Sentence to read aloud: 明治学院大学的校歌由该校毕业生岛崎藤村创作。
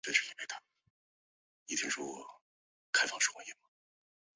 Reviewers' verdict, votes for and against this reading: rejected, 0, 4